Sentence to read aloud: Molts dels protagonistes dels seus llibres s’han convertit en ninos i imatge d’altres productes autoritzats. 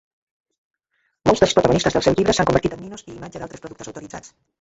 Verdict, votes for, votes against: rejected, 1, 2